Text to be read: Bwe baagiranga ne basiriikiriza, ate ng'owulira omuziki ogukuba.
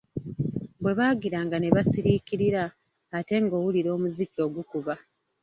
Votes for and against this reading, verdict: 1, 2, rejected